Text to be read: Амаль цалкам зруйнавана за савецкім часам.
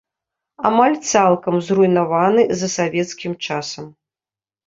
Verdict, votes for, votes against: rejected, 2, 3